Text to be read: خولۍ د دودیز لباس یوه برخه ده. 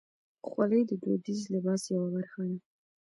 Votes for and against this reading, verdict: 2, 1, accepted